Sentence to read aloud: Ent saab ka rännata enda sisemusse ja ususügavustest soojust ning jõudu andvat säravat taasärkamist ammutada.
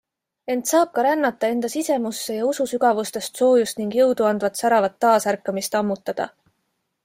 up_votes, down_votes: 2, 0